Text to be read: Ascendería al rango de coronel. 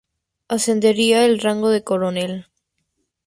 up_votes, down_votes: 2, 0